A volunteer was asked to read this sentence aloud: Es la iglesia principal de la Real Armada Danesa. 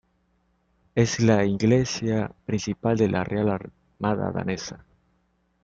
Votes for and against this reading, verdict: 0, 2, rejected